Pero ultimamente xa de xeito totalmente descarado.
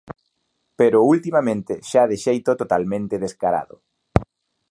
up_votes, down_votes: 2, 0